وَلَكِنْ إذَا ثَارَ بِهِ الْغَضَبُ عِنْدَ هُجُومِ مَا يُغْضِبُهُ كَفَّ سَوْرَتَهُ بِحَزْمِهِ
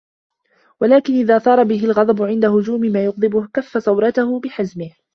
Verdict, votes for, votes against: accepted, 2, 0